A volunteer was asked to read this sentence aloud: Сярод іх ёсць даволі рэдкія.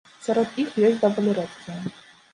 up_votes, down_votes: 2, 0